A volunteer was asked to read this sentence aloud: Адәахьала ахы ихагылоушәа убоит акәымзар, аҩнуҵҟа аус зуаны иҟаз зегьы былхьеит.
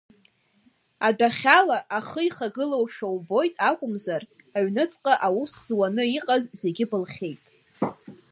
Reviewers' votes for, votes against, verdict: 2, 1, accepted